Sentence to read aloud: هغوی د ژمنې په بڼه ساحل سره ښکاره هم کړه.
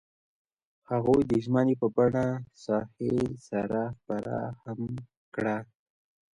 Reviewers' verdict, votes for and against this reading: rejected, 0, 2